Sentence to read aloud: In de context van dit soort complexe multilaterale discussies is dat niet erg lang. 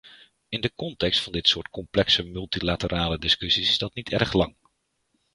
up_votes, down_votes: 0, 2